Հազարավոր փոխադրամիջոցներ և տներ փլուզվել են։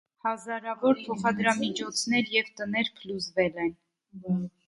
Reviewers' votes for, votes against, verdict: 0, 2, rejected